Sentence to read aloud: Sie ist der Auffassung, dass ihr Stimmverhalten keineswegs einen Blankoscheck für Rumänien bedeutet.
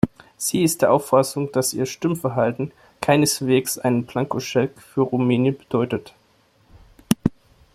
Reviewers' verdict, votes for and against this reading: accepted, 2, 0